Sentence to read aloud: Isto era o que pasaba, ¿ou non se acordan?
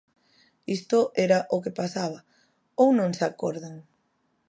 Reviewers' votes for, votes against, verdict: 2, 0, accepted